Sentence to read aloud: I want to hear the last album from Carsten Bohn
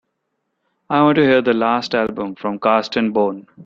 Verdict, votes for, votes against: accepted, 2, 0